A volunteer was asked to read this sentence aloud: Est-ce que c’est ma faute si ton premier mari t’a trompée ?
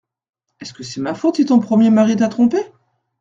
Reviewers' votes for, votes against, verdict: 2, 0, accepted